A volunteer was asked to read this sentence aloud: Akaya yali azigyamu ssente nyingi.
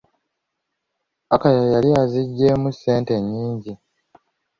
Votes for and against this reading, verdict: 0, 2, rejected